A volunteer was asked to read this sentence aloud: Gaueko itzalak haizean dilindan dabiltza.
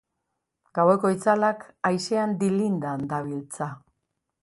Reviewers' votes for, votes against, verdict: 3, 1, accepted